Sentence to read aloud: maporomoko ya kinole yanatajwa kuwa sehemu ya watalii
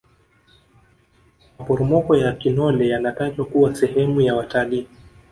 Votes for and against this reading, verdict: 1, 2, rejected